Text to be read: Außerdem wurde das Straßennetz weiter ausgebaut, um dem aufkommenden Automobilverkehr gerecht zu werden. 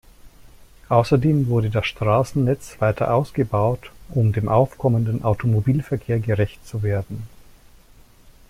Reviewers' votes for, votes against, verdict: 2, 0, accepted